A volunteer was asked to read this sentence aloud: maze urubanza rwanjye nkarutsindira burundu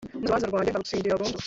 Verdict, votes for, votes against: rejected, 0, 2